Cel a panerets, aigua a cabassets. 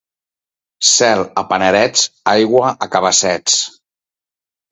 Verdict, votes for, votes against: accepted, 2, 0